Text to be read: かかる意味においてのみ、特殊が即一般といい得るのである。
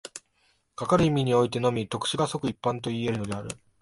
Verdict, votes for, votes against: accepted, 4, 0